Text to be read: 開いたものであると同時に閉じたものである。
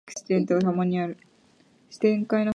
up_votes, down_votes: 0, 2